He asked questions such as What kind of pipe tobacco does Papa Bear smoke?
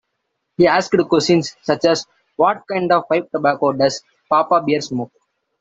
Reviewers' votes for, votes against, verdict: 0, 2, rejected